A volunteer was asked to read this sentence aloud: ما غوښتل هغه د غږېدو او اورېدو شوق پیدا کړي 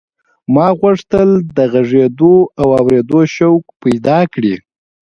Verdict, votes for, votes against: accepted, 2, 1